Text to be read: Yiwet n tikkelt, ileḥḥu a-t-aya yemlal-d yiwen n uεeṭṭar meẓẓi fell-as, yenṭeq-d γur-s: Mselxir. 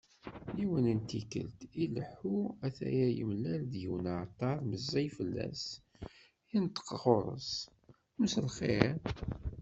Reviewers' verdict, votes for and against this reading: rejected, 1, 2